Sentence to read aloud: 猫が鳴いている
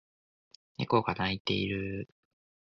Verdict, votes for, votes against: accepted, 2, 0